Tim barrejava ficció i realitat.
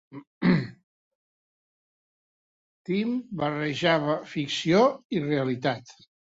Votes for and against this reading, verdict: 1, 2, rejected